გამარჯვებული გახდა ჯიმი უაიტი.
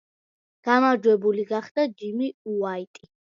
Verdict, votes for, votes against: accepted, 2, 0